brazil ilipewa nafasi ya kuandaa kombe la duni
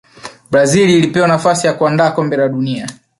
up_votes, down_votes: 3, 1